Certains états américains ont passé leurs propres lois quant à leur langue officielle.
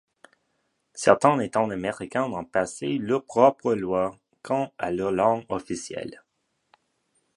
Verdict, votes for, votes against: rejected, 1, 2